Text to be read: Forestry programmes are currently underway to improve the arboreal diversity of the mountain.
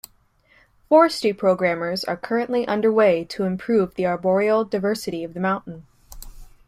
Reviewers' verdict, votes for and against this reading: rejected, 1, 2